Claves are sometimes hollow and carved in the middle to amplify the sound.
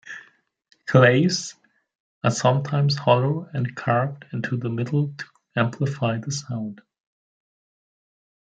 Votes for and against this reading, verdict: 2, 1, accepted